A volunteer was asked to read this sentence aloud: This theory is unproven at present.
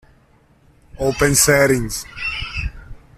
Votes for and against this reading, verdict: 0, 2, rejected